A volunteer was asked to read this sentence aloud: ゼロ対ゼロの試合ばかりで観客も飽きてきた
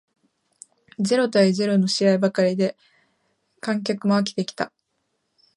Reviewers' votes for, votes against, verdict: 1, 2, rejected